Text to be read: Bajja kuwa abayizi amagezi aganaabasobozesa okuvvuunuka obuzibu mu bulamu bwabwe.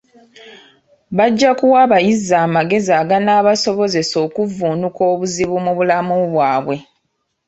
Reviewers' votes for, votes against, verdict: 2, 0, accepted